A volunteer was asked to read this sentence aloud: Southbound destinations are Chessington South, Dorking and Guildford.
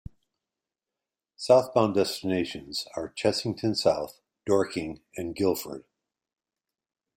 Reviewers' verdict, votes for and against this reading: accepted, 2, 0